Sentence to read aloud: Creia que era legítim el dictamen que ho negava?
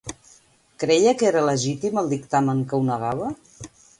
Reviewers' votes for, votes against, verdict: 2, 0, accepted